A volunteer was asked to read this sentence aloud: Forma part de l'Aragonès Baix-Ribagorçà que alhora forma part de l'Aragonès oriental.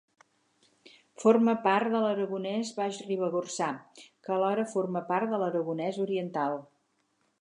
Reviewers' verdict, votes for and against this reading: accepted, 4, 0